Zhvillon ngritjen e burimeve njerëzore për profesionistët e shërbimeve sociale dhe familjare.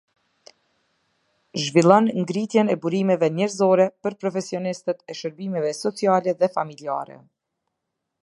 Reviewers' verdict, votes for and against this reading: accepted, 3, 0